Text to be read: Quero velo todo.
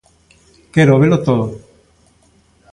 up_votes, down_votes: 2, 0